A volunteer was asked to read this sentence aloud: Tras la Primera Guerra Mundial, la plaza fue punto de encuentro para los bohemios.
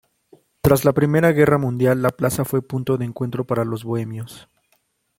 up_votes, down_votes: 0, 2